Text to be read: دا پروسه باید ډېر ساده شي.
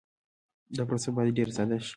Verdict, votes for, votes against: accepted, 3, 0